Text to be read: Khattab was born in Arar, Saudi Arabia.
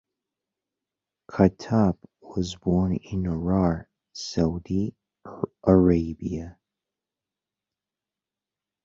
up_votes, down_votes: 1, 2